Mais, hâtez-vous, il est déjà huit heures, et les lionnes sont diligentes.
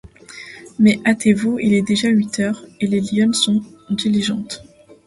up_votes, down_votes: 2, 0